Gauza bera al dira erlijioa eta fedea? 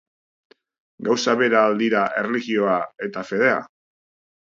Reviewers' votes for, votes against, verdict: 2, 0, accepted